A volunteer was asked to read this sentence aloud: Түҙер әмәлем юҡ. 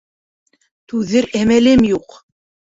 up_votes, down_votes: 2, 0